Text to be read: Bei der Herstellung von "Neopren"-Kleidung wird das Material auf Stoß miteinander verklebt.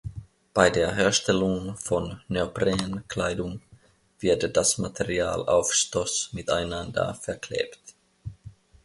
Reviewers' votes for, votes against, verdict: 2, 0, accepted